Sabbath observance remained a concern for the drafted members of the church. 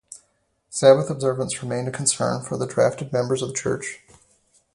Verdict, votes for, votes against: rejected, 2, 2